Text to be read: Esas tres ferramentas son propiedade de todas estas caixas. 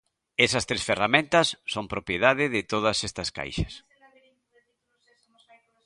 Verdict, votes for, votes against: rejected, 1, 2